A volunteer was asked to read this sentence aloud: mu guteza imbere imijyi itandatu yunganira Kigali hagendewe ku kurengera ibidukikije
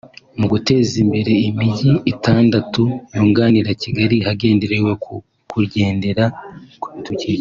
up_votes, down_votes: 0, 2